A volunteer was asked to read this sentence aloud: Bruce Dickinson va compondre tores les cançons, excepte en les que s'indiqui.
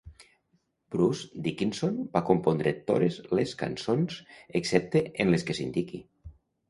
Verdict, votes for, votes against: rejected, 0, 2